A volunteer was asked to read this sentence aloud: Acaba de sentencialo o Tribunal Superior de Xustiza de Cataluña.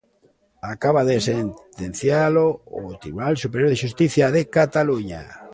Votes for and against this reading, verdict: 0, 2, rejected